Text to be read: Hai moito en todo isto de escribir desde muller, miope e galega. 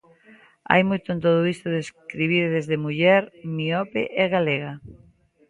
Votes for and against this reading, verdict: 2, 0, accepted